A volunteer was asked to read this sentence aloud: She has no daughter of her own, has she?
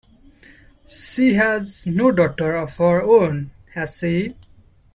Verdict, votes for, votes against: rejected, 0, 2